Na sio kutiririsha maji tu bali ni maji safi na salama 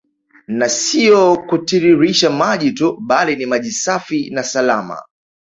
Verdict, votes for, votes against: rejected, 0, 2